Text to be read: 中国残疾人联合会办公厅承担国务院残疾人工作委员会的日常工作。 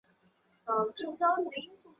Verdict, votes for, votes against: rejected, 0, 2